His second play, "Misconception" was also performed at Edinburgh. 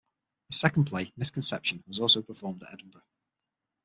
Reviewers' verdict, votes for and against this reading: rejected, 3, 6